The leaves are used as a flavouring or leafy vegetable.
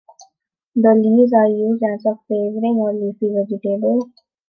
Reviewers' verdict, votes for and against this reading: rejected, 0, 2